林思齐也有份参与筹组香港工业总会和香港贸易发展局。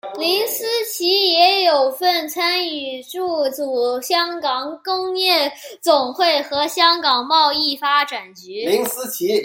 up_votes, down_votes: 0, 2